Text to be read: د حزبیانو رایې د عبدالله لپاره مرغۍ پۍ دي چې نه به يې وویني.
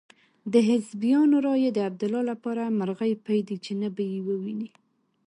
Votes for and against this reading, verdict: 3, 1, accepted